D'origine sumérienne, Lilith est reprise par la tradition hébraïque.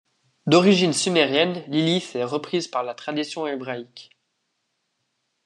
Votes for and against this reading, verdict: 2, 0, accepted